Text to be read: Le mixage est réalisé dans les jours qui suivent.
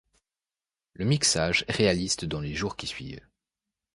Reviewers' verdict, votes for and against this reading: rejected, 0, 2